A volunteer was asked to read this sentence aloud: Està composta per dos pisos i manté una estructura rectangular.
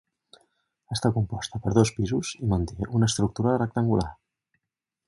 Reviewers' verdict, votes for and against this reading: rejected, 0, 2